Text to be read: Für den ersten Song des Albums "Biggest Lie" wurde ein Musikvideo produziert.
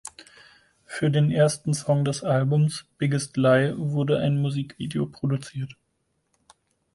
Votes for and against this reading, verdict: 4, 0, accepted